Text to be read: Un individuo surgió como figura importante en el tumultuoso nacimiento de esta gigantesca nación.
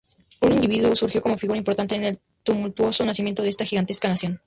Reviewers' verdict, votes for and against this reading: rejected, 0, 2